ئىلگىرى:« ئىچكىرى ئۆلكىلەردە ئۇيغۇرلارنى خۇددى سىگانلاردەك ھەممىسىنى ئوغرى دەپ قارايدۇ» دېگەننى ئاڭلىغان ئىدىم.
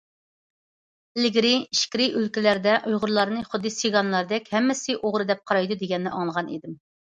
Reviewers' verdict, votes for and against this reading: accepted, 2, 0